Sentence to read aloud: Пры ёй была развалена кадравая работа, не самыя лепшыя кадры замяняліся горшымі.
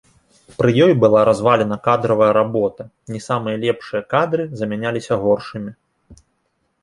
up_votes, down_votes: 2, 0